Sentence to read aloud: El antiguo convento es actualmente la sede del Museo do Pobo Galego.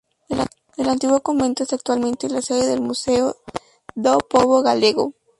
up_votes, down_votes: 0, 2